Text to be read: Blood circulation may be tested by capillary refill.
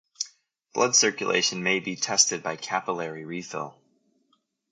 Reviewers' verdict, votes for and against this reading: rejected, 2, 2